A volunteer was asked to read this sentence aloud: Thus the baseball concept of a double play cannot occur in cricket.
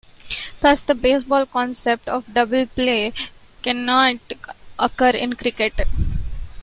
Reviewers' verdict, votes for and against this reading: rejected, 0, 3